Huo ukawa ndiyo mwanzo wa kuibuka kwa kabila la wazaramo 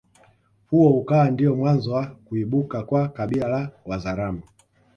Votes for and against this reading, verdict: 1, 2, rejected